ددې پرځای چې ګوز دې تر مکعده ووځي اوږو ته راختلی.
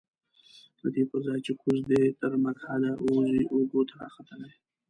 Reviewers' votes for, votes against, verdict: 0, 2, rejected